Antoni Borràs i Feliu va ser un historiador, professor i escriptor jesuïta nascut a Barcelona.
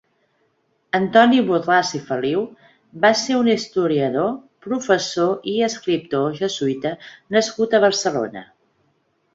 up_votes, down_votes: 1, 2